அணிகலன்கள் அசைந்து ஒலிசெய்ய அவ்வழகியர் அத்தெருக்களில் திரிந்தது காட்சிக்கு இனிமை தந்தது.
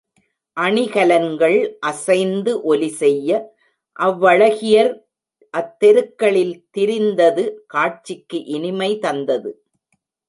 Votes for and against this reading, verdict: 1, 2, rejected